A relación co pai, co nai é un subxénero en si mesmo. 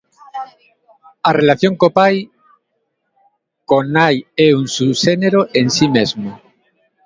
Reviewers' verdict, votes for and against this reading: rejected, 1, 2